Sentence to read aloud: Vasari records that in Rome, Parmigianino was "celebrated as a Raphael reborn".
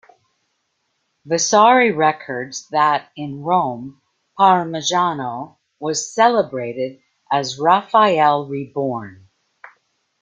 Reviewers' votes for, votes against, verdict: 0, 2, rejected